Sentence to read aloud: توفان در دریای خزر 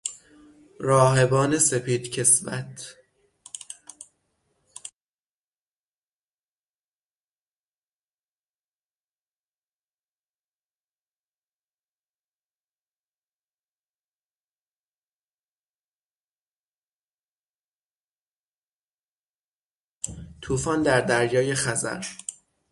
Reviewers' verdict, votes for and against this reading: rejected, 0, 6